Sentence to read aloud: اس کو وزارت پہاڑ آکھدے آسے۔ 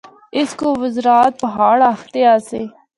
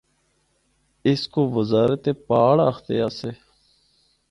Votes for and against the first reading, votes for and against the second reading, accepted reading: 0, 2, 4, 0, second